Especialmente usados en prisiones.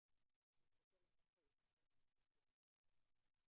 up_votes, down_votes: 0, 2